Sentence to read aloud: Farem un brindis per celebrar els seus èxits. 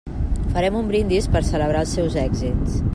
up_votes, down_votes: 3, 0